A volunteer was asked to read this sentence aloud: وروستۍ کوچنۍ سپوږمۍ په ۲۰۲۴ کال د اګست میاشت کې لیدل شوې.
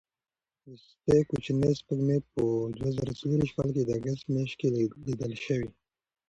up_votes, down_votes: 0, 2